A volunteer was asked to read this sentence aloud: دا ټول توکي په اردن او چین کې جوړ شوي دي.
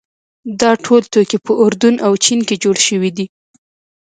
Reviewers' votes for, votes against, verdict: 0, 2, rejected